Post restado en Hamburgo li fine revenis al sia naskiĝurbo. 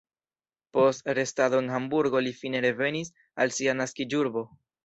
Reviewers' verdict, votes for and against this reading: accepted, 2, 0